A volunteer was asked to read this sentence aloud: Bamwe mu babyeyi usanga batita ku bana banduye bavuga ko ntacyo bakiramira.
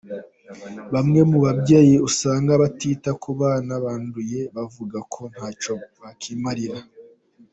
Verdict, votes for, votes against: accepted, 3, 0